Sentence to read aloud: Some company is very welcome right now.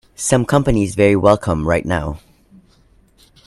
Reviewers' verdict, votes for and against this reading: accepted, 2, 0